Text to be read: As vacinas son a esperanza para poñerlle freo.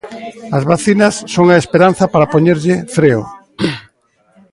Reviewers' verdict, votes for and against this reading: accepted, 2, 0